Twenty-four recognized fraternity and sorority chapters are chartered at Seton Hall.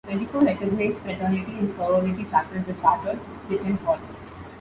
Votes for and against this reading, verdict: 2, 1, accepted